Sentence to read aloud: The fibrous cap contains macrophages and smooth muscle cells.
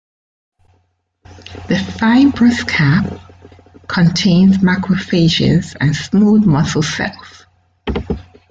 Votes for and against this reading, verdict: 2, 1, accepted